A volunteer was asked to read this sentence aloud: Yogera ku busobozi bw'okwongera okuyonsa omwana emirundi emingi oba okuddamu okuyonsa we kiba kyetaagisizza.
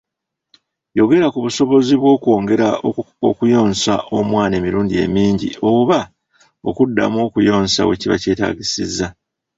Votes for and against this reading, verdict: 2, 1, accepted